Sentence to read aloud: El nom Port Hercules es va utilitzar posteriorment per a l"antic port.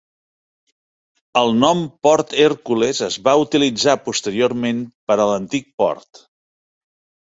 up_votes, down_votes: 2, 0